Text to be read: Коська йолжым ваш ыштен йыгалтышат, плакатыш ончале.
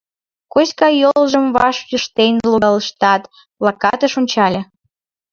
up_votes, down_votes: 1, 2